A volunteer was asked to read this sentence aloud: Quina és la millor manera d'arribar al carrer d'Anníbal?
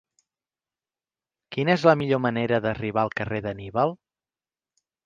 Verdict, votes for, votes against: accepted, 4, 0